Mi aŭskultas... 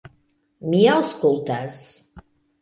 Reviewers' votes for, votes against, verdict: 3, 0, accepted